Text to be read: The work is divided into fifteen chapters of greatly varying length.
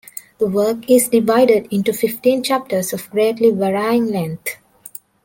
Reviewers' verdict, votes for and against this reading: accepted, 2, 1